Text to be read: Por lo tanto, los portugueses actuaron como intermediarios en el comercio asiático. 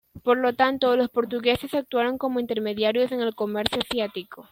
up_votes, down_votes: 0, 2